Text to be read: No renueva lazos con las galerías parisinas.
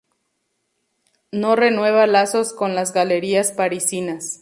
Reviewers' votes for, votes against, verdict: 0, 2, rejected